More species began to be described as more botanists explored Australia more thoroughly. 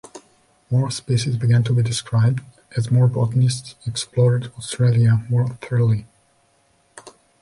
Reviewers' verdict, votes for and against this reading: accepted, 2, 0